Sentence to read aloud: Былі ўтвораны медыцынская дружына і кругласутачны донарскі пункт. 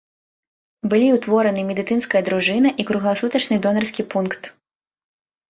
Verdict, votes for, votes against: accepted, 2, 0